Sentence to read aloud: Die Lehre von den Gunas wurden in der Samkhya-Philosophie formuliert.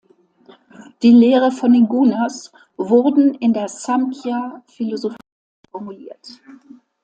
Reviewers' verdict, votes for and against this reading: rejected, 0, 2